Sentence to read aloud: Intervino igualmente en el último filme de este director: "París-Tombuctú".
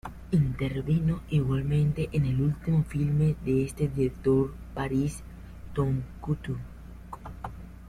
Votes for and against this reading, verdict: 0, 2, rejected